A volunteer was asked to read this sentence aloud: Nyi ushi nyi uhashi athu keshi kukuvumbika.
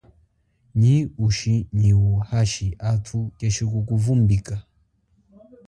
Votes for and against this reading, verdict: 2, 0, accepted